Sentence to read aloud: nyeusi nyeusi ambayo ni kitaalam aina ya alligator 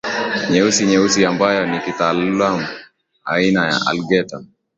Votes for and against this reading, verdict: 1, 2, rejected